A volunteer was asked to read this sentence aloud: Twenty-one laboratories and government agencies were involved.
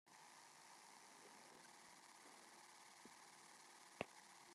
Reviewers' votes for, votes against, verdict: 0, 2, rejected